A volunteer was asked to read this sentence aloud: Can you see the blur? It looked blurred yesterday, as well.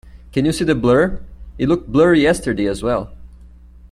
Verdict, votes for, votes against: rejected, 1, 2